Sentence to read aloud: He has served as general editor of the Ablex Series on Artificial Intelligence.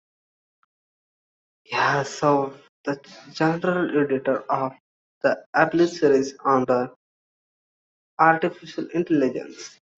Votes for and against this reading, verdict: 1, 2, rejected